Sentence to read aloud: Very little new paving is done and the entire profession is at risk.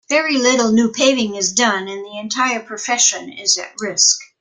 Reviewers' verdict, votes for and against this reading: accepted, 2, 0